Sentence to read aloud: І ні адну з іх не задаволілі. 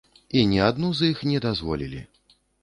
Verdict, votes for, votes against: rejected, 0, 2